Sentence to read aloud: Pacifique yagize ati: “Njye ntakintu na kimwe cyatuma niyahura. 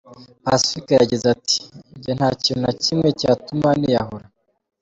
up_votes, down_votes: 3, 0